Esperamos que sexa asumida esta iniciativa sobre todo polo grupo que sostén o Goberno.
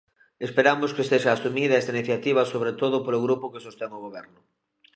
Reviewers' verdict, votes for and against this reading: accepted, 2, 1